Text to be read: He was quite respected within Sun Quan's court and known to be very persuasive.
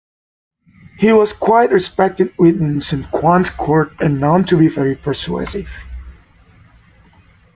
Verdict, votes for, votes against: accepted, 2, 1